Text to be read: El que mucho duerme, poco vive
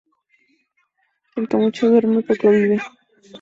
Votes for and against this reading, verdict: 2, 0, accepted